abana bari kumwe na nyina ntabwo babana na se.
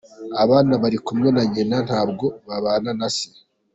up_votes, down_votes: 2, 1